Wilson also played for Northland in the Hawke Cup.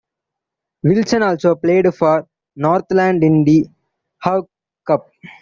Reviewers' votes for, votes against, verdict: 2, 1, accepted